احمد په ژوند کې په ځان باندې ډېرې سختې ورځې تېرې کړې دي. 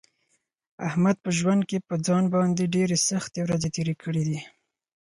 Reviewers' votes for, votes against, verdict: 4, 0, accepted